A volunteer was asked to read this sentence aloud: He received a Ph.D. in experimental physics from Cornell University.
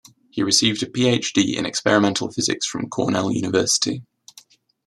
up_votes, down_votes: 2, 0